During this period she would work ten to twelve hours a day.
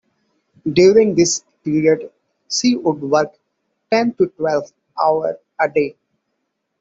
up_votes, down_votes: 1, 2